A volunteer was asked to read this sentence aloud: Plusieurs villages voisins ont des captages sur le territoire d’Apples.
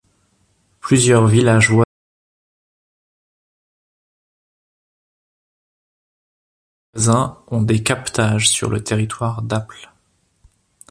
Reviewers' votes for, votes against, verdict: 0, 2, rejected